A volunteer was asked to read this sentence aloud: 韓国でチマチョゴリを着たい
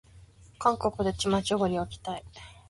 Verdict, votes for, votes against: accepted, 3, 0